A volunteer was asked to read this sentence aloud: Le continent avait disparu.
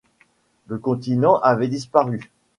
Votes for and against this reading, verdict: 2, 0, accepted